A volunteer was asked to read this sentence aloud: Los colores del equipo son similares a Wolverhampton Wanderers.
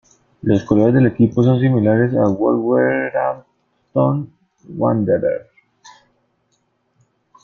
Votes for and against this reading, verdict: 0, 2, rejected